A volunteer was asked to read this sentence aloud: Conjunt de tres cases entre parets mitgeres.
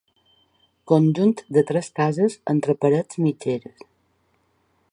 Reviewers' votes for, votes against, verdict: 2, 1, accepted